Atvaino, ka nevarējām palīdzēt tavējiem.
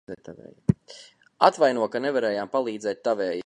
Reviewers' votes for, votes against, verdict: 0, 2, rejected